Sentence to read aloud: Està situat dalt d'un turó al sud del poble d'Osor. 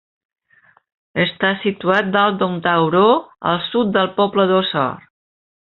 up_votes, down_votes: 0, 2